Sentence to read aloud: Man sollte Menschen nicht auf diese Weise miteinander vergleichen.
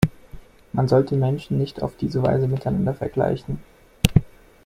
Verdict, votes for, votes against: accepted, 2, 0